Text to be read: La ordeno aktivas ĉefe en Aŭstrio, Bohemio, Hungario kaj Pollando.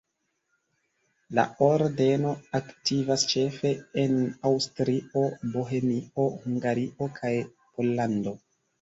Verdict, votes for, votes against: accepted, 2, 1